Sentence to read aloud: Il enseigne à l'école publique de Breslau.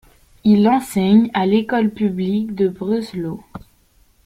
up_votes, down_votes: 2, 0